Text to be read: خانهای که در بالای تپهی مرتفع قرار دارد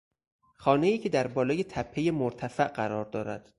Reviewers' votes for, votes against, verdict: 4, 0, accepted